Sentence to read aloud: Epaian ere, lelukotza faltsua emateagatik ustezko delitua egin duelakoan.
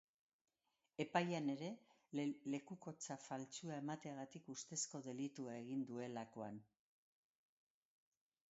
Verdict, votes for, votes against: rejected, 0, 2